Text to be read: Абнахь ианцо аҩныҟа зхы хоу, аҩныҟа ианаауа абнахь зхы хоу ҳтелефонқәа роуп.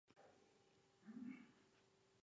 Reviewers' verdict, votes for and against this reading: rejected, 0, 2